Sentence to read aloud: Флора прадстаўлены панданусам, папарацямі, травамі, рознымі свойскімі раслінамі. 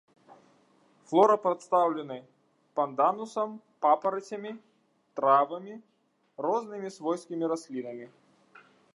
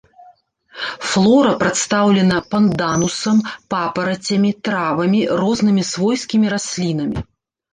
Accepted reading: first